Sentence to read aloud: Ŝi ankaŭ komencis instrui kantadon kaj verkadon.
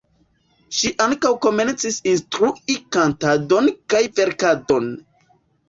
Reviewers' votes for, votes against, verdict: 2, 0, accepted